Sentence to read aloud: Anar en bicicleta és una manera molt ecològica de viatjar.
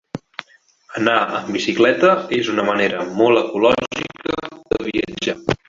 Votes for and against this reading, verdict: 2, 1, accepted